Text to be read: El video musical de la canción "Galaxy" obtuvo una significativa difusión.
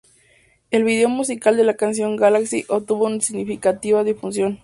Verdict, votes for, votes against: accepted, 4, 0